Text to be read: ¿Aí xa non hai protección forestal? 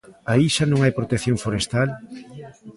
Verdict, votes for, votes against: accepted, 2, 0